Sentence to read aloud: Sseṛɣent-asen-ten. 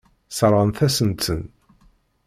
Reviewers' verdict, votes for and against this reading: accepted, 2, 0